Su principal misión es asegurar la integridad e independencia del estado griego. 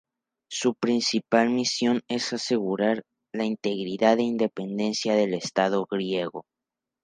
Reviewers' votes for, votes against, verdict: 0, 2, rejected